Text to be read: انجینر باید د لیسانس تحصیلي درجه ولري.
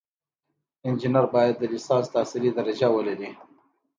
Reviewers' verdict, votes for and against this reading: accepted, 2, 0